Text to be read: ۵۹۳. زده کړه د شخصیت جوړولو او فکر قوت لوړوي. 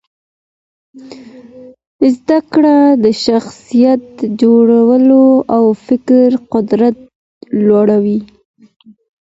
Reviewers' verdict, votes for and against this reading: rejected, 0, 2